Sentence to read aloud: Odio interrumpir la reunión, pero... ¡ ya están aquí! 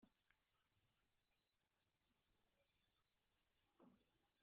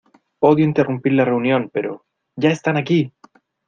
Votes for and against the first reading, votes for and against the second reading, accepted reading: 0, 2, 2, 0, second